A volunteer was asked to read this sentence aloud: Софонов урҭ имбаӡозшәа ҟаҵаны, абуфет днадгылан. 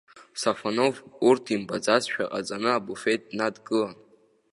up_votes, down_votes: 1, 2